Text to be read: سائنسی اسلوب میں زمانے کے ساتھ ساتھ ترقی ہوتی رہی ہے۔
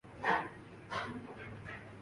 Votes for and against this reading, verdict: 0, 2, rejected